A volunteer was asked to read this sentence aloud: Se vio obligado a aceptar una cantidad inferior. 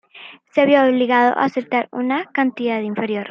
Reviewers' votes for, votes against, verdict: 1, 2, rejected